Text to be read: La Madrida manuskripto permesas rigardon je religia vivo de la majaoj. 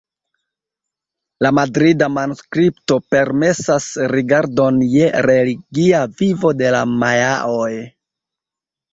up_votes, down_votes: 2, 0